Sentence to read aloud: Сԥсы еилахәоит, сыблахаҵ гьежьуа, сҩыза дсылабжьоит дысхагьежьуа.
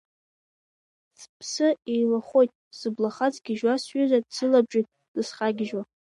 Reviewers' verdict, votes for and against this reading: accepted, 2, 0